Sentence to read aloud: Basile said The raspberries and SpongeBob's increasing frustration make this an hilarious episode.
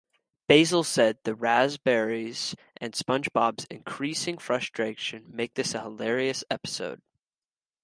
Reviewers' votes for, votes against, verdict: 0, 2, rejected